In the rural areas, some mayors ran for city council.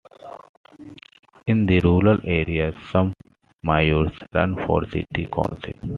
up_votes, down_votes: 2, 1